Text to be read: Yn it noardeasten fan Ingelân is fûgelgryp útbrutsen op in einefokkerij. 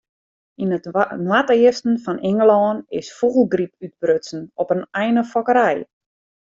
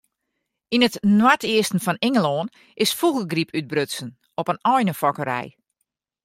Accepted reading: second